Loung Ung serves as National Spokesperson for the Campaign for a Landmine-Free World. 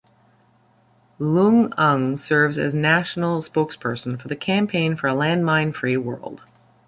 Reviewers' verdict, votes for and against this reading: accepted, 2, 1